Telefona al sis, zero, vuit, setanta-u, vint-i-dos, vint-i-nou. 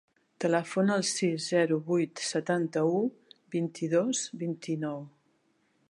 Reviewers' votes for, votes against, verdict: 3, 0, accepted